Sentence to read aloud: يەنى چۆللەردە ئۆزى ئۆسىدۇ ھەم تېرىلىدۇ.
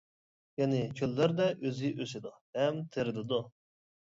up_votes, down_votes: 0, 2